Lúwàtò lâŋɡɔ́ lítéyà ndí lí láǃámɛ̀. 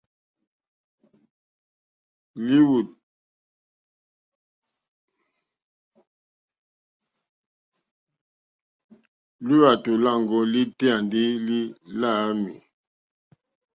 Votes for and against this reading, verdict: 1, 2, rejected